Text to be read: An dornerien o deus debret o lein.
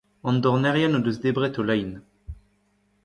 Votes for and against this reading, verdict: 1, 2, rejected